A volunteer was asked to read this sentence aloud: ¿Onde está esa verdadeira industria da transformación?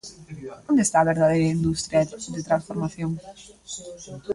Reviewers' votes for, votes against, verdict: 1, 2, rejected